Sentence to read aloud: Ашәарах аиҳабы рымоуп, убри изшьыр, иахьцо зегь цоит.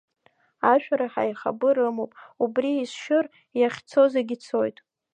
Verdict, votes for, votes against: rejected, 0, 2